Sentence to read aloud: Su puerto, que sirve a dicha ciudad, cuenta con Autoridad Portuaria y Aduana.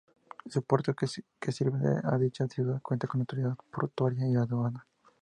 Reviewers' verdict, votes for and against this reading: rejected, 0, 4